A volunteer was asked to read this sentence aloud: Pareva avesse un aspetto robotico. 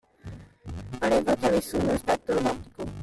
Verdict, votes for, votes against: rejected, 0, 2